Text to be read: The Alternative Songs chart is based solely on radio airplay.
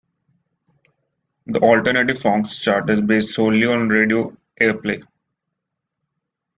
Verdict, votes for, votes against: rejected, 1, 2